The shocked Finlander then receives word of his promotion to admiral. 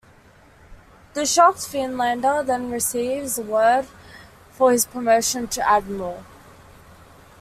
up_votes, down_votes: 2, 3